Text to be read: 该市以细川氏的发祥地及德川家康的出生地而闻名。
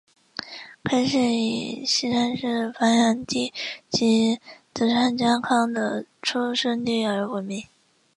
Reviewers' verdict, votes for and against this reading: rejected, 0, 4